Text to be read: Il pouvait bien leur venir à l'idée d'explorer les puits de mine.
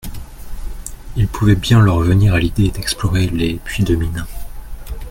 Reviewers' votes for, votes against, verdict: 2, 0, accepted